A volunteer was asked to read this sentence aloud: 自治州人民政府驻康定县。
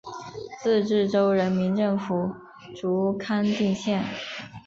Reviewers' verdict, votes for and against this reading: accepted, 2, 0